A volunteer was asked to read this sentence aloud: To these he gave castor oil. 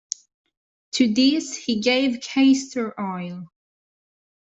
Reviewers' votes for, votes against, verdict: 1, 2, rejected